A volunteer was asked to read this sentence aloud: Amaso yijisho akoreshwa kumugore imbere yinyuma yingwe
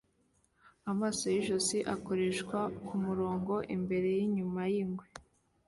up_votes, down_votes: 2, 1